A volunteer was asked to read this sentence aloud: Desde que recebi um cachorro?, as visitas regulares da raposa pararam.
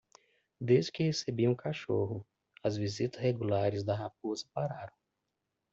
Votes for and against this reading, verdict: 0, 2, rejected